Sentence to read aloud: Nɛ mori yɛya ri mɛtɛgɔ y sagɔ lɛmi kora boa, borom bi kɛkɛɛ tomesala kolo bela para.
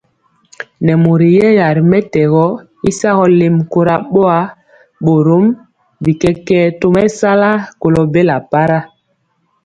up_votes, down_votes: 2, 0